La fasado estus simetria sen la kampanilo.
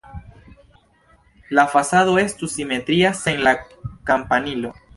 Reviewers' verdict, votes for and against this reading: rejected, 1, 2